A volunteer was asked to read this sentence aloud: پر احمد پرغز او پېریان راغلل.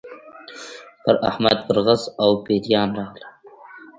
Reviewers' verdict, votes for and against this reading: rejected, 1, 2